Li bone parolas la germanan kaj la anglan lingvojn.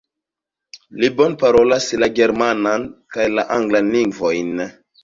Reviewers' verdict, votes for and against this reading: rejected, 1, 2